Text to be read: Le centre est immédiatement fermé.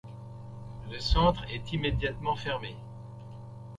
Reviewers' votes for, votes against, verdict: 2, 0, accepted